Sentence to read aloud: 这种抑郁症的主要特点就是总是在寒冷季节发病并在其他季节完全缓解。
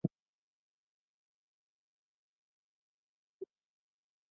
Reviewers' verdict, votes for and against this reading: rejected, 2, 6